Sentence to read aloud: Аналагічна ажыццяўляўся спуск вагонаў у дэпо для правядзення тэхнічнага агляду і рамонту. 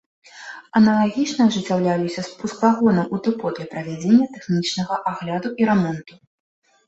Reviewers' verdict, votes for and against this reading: rejected, 0, 2